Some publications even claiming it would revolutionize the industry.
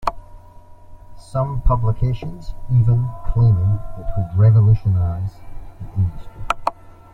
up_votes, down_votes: 2, 1